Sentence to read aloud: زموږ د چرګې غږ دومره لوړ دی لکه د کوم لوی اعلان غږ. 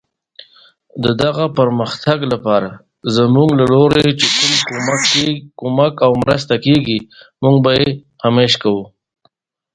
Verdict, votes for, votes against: rejected, 1, 2